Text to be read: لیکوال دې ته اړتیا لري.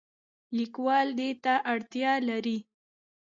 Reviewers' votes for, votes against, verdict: 2, 0, accepted